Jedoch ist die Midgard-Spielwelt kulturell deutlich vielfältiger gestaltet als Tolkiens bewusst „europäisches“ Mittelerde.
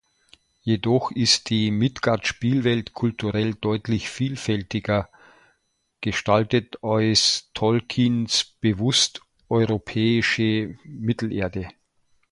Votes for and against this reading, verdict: 0, 2, rejected